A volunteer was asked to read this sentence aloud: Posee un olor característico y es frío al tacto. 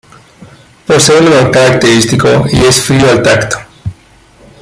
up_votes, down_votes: 2, 0